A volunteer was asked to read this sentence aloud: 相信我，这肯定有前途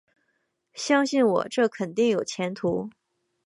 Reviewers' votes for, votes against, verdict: 3, 0, accepted